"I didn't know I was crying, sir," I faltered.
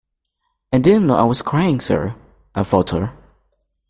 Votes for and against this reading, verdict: 0, 2, rejected